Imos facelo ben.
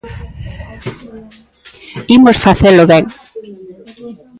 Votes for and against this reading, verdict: 2, 1, accepted